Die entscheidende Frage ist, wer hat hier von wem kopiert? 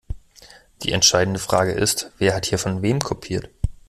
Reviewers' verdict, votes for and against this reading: accepted, 2, 0